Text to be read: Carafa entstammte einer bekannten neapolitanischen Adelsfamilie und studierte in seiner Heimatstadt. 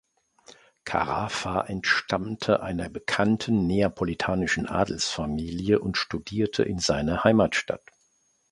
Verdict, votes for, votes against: accepted, 3, 0